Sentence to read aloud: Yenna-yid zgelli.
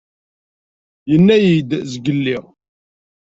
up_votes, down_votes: 2, 0